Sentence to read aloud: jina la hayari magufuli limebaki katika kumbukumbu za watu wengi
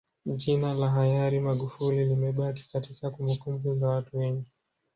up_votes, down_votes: 1, 2